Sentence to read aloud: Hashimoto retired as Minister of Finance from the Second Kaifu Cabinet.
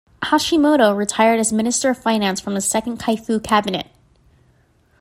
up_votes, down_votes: 2, 0